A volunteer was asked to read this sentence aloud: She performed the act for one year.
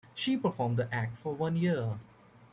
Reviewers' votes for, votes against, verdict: 1, 2, rejected